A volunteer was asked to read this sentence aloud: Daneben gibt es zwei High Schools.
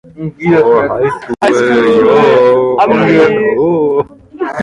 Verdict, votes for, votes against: rejected, 0, 2